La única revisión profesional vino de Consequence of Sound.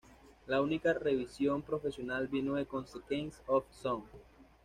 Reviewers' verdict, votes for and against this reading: rejected, 1, 2